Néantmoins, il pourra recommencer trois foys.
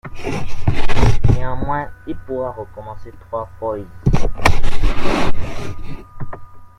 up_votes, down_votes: 1, 2